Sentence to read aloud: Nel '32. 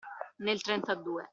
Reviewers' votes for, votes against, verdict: 0, 2, rejected